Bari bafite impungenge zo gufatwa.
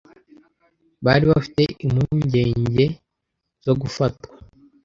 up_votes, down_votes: 2, 0